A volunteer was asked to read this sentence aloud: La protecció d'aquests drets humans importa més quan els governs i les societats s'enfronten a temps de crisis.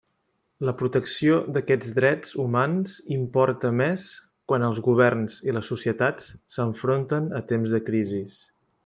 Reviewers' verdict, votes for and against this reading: accepted, 3, 0